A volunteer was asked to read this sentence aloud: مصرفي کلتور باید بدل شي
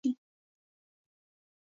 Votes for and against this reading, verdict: 1, 2, rejected